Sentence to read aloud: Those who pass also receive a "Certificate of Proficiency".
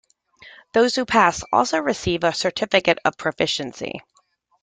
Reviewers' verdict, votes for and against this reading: accepted, 2, 1